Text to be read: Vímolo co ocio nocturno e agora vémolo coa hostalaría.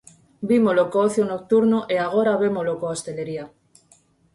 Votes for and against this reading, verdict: 0, 4, rejected